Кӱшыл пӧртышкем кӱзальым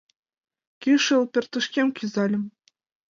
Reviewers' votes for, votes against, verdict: 2, 0, accepted